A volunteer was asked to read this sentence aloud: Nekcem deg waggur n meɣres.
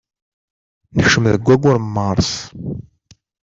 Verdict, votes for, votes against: rejected, 1, 2